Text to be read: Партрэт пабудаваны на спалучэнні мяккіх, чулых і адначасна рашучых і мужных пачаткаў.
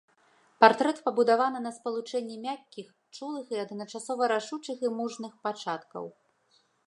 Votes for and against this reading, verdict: 2, 4, rejected